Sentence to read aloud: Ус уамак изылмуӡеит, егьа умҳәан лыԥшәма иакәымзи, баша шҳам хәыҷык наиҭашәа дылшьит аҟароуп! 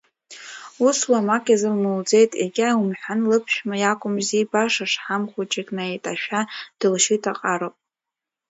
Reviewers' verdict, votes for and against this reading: rejected, 0, 2